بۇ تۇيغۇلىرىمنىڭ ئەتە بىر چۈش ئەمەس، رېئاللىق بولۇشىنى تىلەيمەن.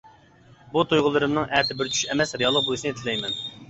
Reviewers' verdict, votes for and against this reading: accepted, 2, 0